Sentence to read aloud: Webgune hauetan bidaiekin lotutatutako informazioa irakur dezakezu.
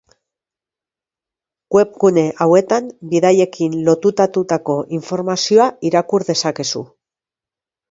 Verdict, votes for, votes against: accepted, 2, 0